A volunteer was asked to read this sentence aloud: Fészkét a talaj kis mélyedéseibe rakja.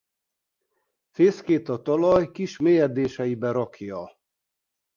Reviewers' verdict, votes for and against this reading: accepted, 2, 0